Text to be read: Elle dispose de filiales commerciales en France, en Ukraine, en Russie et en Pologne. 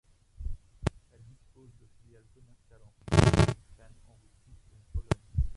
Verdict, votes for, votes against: rejected, 1, 2